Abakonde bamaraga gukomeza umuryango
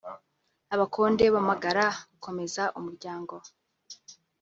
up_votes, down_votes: 1, 2